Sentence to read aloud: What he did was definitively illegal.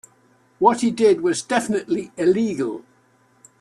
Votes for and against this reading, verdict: 2, 0, accepted